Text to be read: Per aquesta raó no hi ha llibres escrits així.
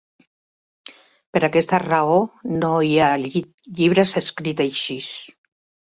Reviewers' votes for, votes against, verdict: 2, 3, rejected